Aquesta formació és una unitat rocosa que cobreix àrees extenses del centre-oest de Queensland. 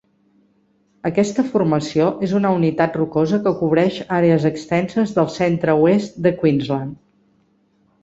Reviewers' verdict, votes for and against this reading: accepted, 3, 0